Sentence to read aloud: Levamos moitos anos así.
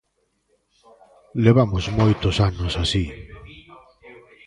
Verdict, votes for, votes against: accepted, 2, 0